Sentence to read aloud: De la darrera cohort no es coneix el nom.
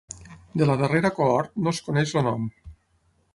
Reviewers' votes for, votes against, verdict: 3, 9, rejected